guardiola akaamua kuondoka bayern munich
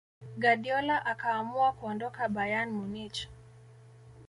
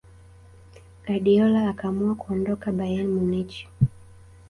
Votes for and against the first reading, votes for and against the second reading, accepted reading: 1, 2, 2, 0, second